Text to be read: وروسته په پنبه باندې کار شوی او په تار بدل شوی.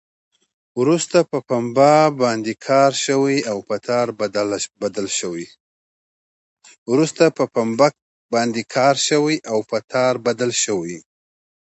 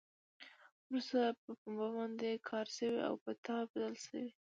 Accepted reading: first